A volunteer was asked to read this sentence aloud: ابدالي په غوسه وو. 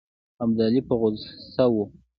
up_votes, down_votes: 2, 0